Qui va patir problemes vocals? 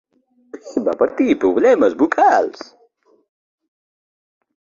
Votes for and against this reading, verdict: 0, 2, rejected